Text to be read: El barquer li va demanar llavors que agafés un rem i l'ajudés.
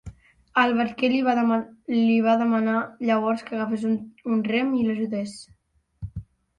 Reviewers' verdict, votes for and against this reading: rejected, 1, 2